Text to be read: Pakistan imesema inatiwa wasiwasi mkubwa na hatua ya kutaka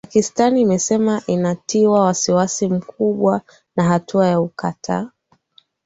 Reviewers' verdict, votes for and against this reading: rejected, 0, 2